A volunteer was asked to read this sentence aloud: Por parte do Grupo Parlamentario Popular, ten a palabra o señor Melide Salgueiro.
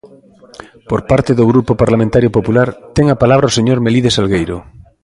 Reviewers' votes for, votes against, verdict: 2, 0, accepted